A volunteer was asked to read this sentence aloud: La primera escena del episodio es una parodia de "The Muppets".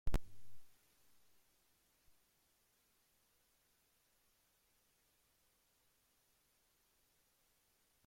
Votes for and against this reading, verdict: 0, 2, rejected